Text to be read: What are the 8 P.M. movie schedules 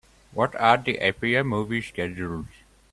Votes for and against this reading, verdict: 0, 2, rejected